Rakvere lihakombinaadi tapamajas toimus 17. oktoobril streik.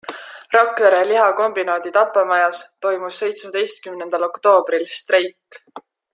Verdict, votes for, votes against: rejected, 0, 2